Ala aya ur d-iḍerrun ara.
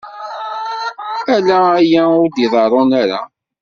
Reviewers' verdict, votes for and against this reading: rejected, 0, 2